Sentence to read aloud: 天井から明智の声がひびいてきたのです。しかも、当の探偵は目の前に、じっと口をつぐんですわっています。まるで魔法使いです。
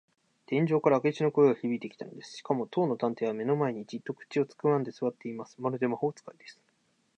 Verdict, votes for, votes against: accepted, 2, 1